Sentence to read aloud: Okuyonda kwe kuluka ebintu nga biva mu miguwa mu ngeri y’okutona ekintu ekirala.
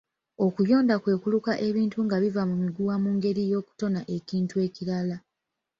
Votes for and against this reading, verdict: 1, 2, rejected